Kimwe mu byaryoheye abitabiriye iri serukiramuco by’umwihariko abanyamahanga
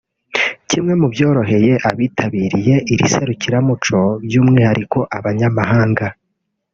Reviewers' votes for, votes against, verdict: 1, 2, rejected